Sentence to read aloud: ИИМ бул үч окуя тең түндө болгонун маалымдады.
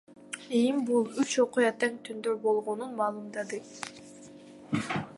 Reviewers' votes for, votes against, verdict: 2, 0, accepted